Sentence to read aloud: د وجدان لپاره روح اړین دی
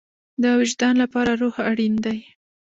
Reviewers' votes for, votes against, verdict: 1, 2, rejected